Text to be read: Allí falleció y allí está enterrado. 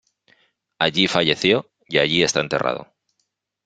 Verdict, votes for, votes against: accepted, 3, 0